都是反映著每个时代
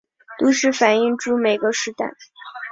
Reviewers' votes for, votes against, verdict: 3, 0, accepted